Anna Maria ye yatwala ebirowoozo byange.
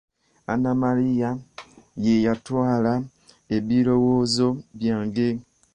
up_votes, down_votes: 2, 1